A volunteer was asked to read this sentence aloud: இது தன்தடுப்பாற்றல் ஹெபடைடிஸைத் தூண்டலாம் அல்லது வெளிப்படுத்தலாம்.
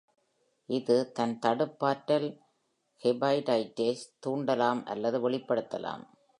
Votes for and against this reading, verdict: 2, 3, rejected